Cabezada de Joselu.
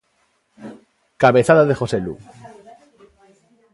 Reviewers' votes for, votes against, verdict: 1, 2, rejected